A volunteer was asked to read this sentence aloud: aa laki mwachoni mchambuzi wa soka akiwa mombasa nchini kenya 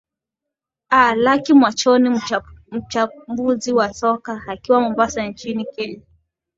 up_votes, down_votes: 9, 3